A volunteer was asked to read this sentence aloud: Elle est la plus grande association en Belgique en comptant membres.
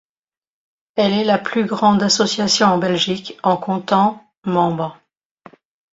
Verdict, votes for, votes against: accepted, 2, 0